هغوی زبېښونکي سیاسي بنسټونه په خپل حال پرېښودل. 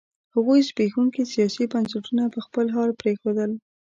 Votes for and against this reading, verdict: 1, 2, rejected